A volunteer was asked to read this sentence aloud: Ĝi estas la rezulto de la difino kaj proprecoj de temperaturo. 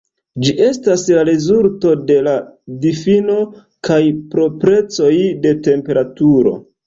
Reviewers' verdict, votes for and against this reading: accepted, 2, 1